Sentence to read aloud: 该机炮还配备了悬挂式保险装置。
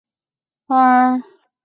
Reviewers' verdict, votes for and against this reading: rejected, 0, 2